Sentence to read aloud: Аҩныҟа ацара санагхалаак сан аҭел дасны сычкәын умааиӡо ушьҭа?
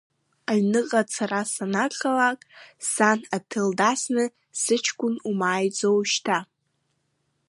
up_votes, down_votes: 3, 1